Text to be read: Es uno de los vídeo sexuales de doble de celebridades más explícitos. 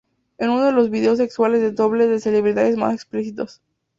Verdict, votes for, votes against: rejected, 0, 2